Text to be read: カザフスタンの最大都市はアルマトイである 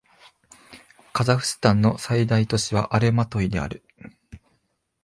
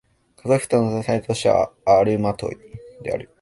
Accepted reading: first